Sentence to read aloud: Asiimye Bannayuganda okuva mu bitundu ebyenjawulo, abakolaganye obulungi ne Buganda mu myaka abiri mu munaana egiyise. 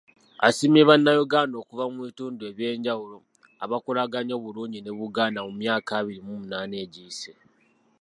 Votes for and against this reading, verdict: 2, 0, accepted